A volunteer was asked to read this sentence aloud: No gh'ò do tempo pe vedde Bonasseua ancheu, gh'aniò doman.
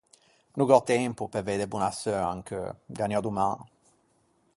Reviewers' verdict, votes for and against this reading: rejected, 0, 4